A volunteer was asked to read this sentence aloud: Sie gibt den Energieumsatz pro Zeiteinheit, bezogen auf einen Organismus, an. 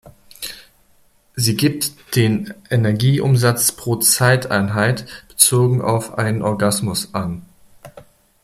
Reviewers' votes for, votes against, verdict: 0, 2, rejected